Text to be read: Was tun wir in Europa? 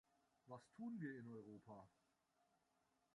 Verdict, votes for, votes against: rejected, 1, 2